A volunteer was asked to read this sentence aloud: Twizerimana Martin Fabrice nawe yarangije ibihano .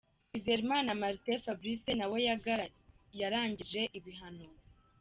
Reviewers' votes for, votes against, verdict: 1, 2, rejected